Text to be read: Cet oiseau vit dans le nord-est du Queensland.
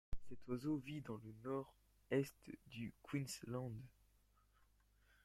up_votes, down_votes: 1, 2